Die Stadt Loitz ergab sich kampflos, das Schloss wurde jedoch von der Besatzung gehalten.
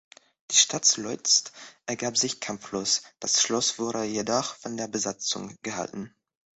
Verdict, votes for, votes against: rejected, 0, 2